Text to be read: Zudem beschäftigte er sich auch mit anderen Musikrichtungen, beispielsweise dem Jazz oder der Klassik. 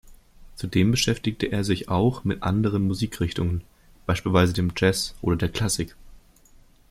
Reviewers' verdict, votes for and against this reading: accepted, 2, 0